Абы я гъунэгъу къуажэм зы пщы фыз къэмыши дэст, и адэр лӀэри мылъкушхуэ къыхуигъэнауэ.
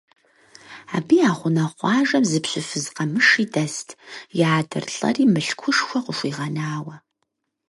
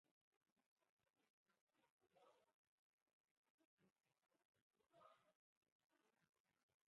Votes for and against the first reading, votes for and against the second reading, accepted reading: 6, 0, 0, 4, first